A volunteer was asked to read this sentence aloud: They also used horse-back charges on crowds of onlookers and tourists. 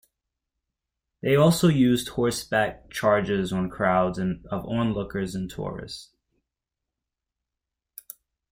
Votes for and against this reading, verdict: 0, 2, rejected